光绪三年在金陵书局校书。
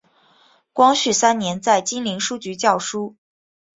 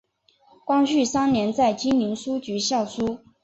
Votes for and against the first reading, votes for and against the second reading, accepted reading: 3, 0, 1, 2, first